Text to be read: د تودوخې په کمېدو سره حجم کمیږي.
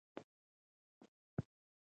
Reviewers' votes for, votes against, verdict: 1, 2, rejected